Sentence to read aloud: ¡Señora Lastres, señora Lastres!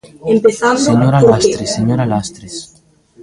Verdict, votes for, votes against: rejected, 0, 2